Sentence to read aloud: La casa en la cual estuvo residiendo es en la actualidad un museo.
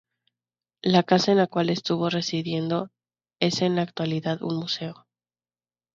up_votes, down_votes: 4, 0